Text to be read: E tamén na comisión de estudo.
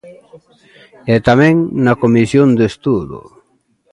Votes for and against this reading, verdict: 2, 0, accepted